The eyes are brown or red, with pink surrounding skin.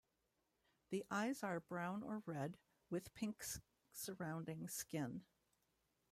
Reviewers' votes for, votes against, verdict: 2, 1, accepted